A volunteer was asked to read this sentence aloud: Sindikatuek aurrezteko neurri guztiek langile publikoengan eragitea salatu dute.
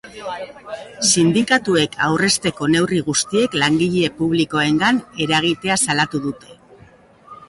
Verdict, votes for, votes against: accepted, 3, 0